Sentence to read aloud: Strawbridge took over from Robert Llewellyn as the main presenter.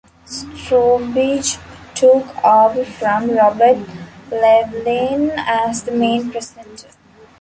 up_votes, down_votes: 0, 2